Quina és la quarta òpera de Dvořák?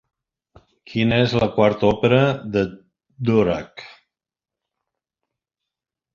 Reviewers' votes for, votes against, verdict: 0, 2, rejected